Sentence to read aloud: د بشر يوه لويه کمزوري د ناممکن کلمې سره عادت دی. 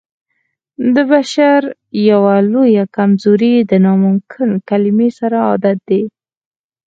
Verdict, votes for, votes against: accepted, 4, 0